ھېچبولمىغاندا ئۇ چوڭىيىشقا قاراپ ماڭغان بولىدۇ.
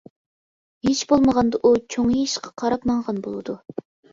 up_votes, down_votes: 0, 2